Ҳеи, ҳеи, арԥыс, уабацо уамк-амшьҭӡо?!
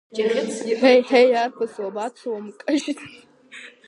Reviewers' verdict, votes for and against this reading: rejected, 0, 2